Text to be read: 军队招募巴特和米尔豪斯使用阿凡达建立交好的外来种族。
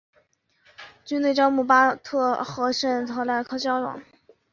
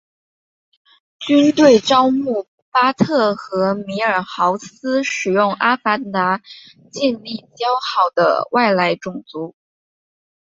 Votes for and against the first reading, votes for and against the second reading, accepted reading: 0, 2, 3, 1, second